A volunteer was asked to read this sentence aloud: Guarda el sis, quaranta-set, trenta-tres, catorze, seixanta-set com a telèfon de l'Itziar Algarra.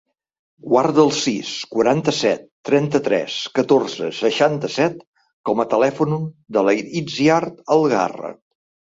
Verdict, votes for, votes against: rejected, 0, 2